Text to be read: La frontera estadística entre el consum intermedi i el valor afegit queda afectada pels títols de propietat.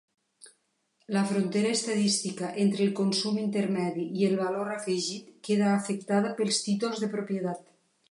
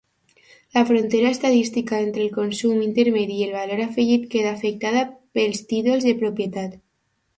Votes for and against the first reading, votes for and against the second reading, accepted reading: 3, 0, 1, 2, first